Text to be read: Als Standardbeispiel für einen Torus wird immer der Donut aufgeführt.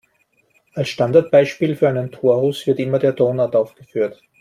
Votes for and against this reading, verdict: 2, 1, accepted